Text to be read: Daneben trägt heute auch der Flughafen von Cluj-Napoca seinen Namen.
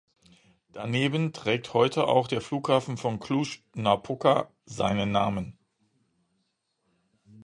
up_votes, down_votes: 2, 0